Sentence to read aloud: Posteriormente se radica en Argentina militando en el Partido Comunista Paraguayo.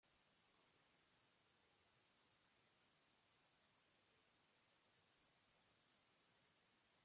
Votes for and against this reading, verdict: 0, 2, rejected